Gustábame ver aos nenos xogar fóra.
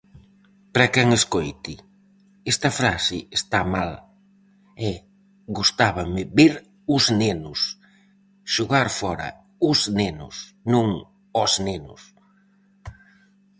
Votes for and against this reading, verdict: 0, 4, rejected